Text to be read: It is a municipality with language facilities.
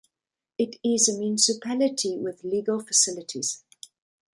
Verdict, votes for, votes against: rejected, 1, 2